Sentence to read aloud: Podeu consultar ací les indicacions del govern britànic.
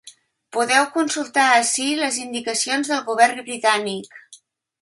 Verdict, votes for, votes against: accepted, 3, 0